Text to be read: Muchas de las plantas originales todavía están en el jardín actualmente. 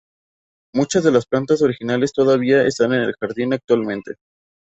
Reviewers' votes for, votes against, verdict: 2, 0, accepted